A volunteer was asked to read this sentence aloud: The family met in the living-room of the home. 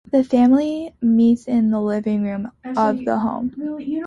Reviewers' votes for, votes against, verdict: 1, 2, rejected